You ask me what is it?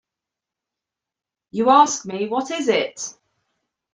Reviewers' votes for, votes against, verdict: 2, 0, accepted